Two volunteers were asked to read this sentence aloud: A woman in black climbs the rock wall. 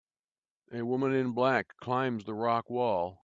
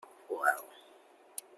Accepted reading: first